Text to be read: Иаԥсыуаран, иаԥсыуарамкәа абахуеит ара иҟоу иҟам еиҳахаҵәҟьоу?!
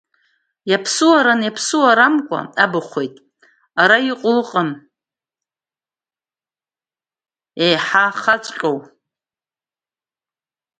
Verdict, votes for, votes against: rejected, 0, 2